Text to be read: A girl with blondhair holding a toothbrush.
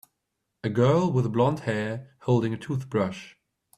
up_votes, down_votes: 2, 0